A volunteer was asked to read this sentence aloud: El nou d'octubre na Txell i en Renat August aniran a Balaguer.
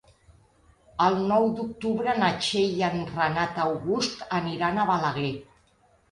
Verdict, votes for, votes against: accepted, 2, 0